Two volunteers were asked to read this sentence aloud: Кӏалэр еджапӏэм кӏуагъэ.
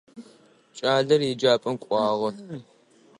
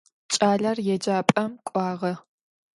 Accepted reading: second